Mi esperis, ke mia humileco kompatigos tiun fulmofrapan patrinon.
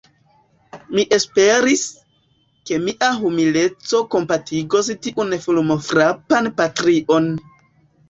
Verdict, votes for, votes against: rejected, 1, 2